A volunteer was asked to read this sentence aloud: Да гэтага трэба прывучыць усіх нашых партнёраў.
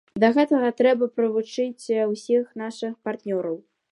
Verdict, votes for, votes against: accepted, 2, 0